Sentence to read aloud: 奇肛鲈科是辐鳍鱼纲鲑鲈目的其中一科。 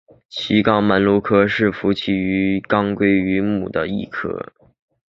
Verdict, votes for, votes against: rejected, 0, 2